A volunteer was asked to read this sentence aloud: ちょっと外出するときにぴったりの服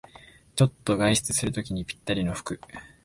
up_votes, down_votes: 2, 0